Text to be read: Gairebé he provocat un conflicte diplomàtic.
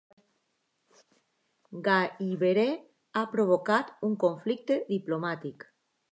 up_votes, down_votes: 1, 2